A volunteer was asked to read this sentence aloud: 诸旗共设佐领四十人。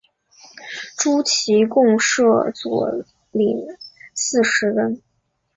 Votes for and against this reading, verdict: 2, 0, accepted